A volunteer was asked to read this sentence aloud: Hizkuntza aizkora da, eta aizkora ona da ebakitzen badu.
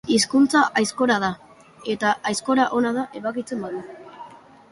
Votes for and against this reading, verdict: 2, 0, accepted